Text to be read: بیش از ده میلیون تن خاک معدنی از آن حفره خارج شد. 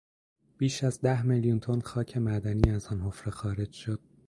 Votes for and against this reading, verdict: 2, 0, accepted